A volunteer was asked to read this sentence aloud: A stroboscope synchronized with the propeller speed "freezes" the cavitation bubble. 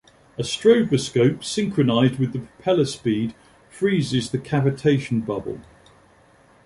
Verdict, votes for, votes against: accepted, 2, 0